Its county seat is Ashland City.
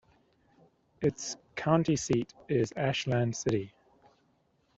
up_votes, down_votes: 2, 0